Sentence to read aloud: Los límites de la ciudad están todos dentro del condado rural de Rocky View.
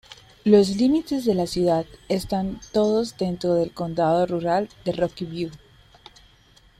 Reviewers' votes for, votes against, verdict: 2, 0, accepted